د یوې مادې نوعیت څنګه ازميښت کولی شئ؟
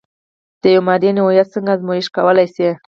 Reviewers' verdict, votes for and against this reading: rejected, 0, 4